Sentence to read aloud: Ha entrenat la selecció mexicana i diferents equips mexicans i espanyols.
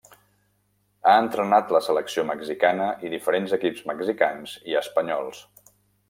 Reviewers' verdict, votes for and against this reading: accepted, 3, 1